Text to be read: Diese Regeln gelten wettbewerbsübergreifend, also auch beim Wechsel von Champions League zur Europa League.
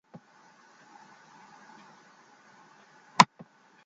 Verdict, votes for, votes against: rejected, 0, 2